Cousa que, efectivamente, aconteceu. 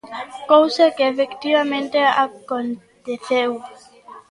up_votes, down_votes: 1, 2